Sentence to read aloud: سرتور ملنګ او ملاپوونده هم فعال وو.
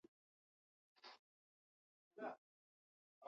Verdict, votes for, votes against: rejected, 0, 6